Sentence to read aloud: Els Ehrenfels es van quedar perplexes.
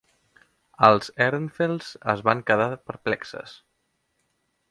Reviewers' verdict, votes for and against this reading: accepted, 2, 0